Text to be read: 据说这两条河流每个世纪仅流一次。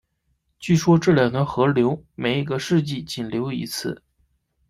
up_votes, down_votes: 1, 2